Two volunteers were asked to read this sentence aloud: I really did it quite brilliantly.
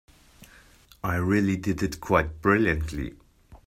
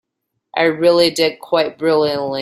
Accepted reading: first